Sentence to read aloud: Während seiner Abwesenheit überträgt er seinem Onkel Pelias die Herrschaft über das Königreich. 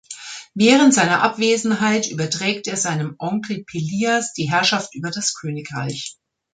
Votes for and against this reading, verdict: 2, 0, accepted